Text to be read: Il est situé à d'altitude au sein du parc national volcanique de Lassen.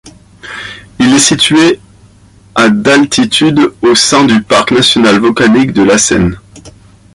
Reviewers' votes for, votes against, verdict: 2, 0, accepted